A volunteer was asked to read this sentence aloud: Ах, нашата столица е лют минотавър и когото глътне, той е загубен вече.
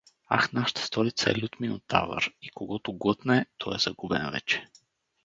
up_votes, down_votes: 2, 2